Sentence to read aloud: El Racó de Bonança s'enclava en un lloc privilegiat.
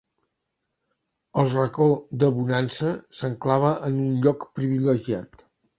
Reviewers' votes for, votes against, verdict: 3, 0, accepted